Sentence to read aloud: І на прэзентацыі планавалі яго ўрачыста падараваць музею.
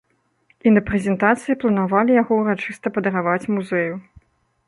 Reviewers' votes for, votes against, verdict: 1, 2, rejected